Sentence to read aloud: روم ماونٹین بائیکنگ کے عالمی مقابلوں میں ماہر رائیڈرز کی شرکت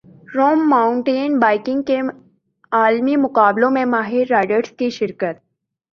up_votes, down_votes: 3, 1